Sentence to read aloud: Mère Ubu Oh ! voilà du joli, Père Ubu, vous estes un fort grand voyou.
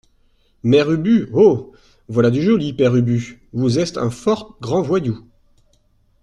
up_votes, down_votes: 2, 0